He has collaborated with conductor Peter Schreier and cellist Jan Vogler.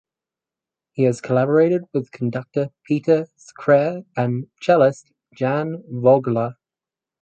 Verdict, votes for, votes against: rejected, 2, 4